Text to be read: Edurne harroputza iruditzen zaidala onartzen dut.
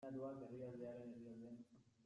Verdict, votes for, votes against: rejected, 0, 2